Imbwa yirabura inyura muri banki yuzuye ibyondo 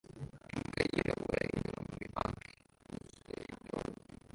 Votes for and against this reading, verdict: 0, 2, rejected